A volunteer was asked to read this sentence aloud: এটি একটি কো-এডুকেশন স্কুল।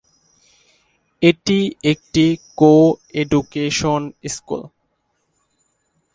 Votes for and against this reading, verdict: 2, 0, accepted